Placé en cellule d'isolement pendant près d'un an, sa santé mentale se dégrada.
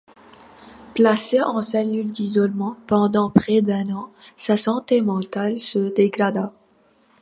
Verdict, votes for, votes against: accepted, 2, 0